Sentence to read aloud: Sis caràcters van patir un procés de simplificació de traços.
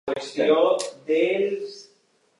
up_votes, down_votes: 0, 2